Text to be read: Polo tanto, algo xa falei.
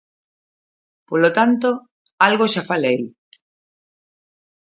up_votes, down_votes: 2, 0